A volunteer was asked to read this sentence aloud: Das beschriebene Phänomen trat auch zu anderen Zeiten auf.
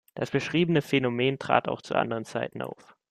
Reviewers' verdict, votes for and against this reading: accepted, 2, 0